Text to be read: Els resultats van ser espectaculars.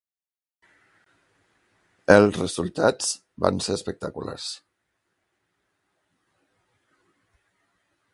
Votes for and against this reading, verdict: 2, 0, accepted